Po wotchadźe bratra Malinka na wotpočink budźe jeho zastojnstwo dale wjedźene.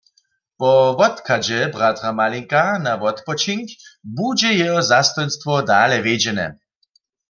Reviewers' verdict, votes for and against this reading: accepted, 2, 0